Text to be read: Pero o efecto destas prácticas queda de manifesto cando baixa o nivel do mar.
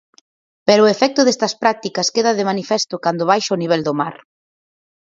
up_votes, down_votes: 4, 0